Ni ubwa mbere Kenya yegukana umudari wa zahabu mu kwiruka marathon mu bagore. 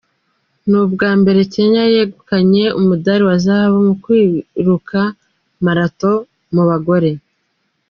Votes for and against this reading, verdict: 1, 2, rejected